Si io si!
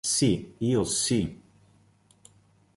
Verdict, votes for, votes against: accepted, 3, 0